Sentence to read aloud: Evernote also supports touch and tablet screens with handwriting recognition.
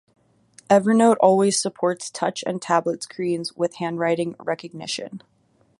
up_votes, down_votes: 1, 2